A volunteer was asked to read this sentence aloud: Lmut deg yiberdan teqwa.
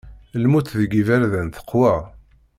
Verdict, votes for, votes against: accepted, 2, 0